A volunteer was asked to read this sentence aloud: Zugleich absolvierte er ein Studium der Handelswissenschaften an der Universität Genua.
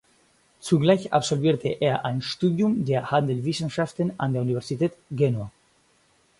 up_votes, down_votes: 0, 4